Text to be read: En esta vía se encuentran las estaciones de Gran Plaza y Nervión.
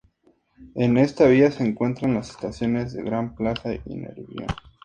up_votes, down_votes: 2, 0